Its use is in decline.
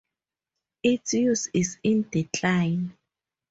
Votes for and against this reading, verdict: 4, 0, accepted